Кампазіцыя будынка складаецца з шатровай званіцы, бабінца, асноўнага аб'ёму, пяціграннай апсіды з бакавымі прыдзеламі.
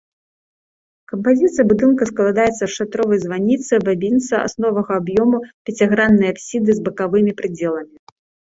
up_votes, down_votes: 0, 2